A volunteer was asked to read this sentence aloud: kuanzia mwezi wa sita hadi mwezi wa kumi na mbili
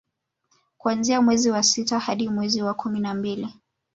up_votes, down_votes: 2, 0